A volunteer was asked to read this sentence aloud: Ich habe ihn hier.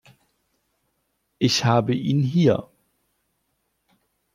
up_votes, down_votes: 2, 0